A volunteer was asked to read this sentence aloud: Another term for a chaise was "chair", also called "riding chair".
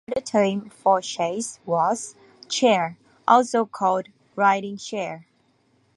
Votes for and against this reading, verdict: 1, 2, rejected